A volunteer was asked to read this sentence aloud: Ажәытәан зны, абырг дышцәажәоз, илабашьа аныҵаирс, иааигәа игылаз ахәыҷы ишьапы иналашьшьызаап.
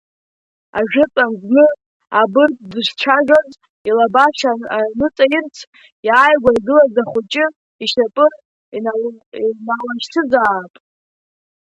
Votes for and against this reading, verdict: 1, 2, rejected